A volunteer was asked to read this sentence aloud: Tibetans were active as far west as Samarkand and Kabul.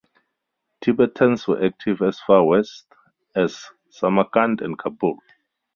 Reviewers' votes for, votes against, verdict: 4, 0, accepted